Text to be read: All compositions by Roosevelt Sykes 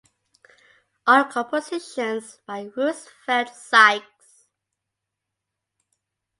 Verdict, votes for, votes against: accepted, 2, 0